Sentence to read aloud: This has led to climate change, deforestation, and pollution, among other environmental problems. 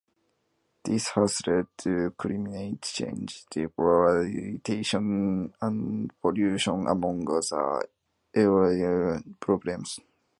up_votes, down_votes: 0, 2